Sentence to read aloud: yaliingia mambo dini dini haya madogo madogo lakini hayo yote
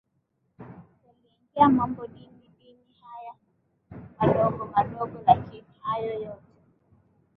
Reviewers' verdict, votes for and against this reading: rejected, 1, 2